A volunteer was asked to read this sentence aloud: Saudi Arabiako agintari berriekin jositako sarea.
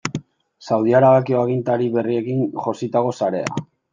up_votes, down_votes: 1, 2